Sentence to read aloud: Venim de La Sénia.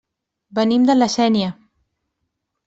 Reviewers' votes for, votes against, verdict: 2, 0, accepted